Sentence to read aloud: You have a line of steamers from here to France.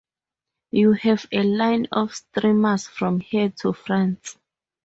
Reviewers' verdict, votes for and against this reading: rejected, 0, 4